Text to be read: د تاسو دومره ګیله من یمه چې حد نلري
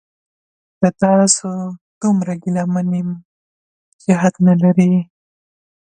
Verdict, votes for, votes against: rejected, 0, 2